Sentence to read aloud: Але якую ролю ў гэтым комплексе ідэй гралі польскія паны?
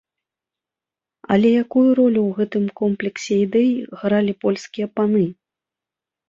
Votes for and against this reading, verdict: 2, 0, accepted